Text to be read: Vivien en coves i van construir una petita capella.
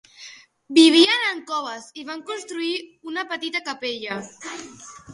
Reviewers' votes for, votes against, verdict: 2, 1, accepted